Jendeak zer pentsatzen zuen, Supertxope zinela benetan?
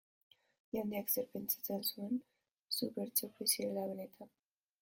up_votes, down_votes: 0, 2